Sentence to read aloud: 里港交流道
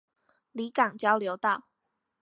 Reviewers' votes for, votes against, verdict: 4, 0, accepted